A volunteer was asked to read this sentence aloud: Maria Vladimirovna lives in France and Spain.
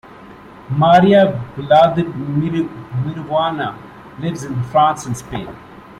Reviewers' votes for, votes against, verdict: 1, 2, rejected